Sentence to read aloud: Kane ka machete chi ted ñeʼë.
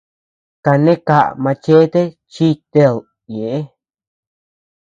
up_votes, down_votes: 0, 2